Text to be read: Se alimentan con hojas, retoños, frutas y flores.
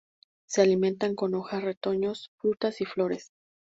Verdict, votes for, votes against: accepted, 2, 0